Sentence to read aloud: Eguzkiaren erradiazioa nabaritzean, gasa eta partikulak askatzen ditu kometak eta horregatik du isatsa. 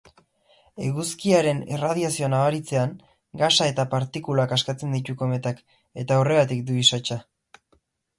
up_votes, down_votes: 4, 0